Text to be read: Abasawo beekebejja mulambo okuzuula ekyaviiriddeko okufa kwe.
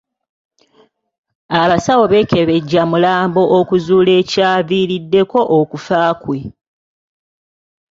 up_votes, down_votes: 3, 1